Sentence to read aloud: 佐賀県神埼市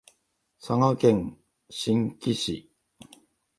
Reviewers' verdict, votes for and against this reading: rejected, 1, 2